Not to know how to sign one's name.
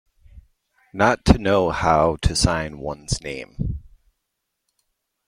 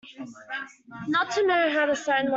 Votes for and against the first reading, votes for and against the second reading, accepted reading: 2, 1, 1, 2, first